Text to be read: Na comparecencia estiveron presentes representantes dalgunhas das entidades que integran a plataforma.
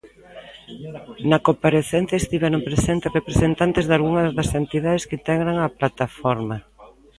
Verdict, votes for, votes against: rejected, 2, 3